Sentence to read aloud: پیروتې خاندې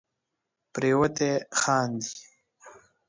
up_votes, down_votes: 2, 1